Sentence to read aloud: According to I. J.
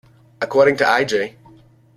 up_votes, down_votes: 2, 1